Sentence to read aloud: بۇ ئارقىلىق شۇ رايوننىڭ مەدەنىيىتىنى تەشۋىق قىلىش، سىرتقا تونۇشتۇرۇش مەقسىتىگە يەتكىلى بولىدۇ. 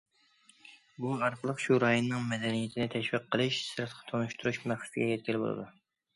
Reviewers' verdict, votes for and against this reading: accepted, 2, 0